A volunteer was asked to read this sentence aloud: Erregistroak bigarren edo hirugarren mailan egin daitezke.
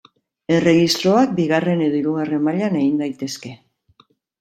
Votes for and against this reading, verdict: 1, 2, rejected